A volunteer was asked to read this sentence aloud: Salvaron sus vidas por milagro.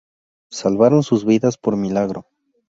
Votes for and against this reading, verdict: 2, 0, accepted